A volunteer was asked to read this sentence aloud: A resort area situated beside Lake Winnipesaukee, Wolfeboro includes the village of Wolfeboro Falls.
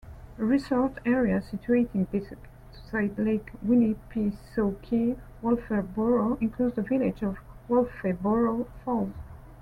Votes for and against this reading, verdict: 1, 2, rejected